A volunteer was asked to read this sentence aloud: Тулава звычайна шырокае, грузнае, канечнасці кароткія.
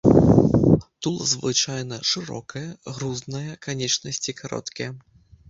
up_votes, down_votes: 0, 2